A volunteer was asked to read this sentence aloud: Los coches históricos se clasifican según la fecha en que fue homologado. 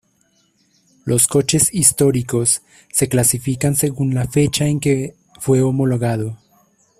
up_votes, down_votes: 2, 0